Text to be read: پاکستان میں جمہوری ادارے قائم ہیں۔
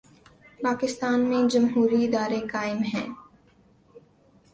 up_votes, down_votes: 2, 0